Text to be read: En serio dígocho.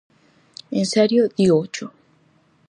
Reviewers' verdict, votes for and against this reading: accepted, 4, 0